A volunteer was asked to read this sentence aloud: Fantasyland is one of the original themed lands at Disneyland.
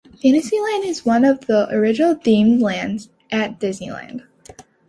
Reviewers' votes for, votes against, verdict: 2, 0, accepted